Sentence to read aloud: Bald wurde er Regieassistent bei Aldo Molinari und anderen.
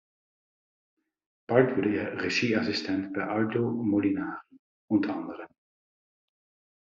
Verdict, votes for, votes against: accepted, 2, 1